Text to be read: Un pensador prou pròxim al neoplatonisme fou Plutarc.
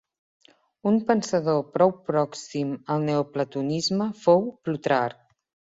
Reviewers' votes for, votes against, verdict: 2, 1, accepted